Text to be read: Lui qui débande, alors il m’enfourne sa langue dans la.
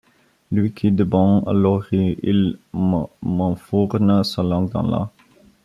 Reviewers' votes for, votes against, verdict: 0, 2, rejected